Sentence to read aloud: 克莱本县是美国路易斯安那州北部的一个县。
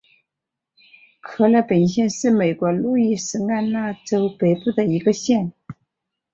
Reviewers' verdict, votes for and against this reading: accepted, 2, 0